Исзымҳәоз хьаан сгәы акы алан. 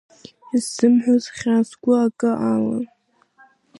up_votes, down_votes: 2, 0